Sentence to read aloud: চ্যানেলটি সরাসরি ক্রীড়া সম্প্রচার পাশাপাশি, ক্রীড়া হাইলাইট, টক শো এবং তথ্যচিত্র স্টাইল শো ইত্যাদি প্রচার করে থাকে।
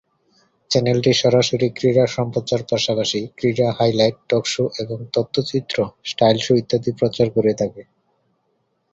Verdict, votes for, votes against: accepted, 2, 0